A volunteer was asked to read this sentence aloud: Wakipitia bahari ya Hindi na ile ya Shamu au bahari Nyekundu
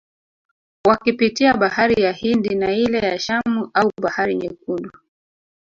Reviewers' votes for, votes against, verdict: 1, 2, rejected